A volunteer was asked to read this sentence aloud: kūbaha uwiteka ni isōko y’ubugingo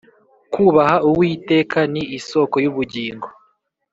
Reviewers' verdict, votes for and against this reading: accepted, 3, 0